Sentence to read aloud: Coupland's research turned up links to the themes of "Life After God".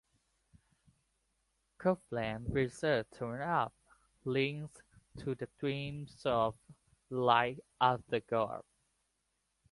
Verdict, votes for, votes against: accepted, 2, 0